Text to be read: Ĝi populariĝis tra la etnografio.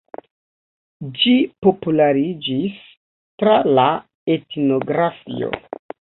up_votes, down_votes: 1, 2